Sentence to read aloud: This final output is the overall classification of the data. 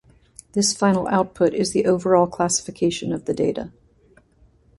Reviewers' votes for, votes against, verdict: 2, 0, accepted